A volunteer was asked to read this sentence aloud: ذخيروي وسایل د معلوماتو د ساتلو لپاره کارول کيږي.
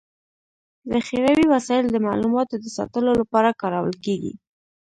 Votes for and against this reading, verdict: 3, 1, accepted